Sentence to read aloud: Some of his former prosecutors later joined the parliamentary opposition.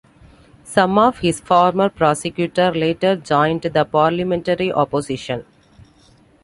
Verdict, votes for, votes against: rejected, 1, 2